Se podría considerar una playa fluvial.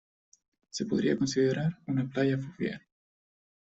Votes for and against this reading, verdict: 2, 0, accepted